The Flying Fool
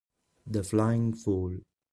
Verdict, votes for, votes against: accepted, 2, 0